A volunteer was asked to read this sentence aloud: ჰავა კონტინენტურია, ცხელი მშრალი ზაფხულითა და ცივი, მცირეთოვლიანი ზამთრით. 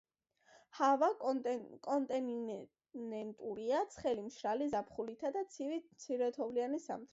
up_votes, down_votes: 1, 2